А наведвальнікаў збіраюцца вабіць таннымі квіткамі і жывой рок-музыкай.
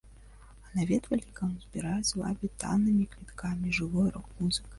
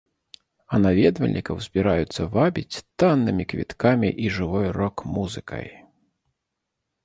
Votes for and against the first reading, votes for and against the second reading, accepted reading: 0, 2, 2, 0, second